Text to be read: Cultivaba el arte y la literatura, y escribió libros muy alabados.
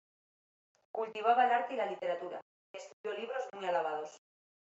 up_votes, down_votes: 0, 2